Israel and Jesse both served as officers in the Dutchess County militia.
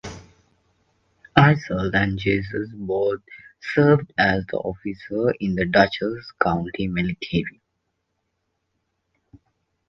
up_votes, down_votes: 0, 2